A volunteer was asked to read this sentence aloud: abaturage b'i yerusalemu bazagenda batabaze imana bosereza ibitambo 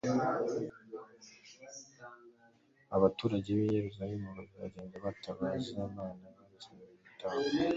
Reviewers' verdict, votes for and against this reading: rejected, 1, 2